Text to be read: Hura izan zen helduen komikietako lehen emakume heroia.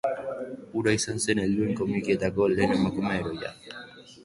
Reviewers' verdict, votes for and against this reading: accepted, 2, 0